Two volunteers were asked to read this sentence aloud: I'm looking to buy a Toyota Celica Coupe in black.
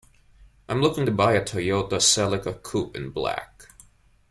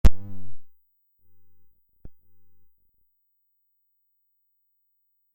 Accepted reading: first